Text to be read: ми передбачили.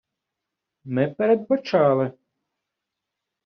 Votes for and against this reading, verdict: 0, 2, rejected